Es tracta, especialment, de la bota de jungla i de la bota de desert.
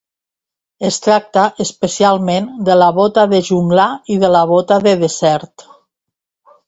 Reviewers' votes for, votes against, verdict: 0, 2, rejected